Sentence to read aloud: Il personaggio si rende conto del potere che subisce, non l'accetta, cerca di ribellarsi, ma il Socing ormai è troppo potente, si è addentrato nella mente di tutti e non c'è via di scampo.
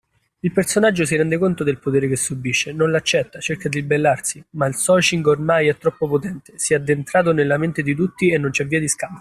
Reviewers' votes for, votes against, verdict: 0, 2, rejected